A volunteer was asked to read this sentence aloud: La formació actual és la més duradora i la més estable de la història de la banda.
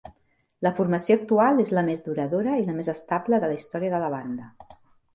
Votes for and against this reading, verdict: 2, 0, accepted